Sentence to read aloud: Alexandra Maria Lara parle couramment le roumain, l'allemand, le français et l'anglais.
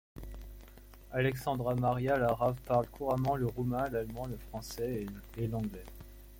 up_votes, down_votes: 2, 0